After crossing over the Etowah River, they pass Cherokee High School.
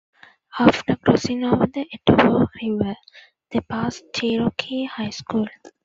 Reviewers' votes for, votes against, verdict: 3, 4, rejected